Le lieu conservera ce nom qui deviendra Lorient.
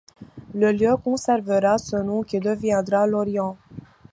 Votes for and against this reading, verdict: 1, 2, rejected